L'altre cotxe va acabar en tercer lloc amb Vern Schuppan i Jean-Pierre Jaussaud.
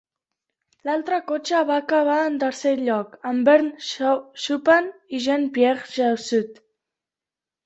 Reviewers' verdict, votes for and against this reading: rejected, 0, 2